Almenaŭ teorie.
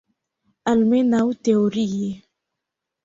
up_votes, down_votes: 2, 1